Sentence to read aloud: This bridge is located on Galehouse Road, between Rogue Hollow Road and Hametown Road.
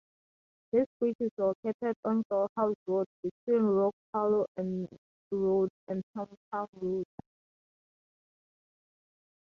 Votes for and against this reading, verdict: 2, 2, rejected